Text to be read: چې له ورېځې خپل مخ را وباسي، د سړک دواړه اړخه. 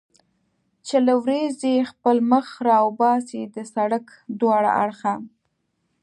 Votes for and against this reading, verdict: 2, 0, accepted